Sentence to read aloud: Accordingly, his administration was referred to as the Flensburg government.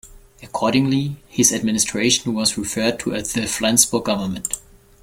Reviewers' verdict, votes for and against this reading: accepted, 2, 1